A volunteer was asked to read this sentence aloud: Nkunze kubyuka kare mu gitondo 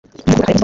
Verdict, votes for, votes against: rejected, 0, 2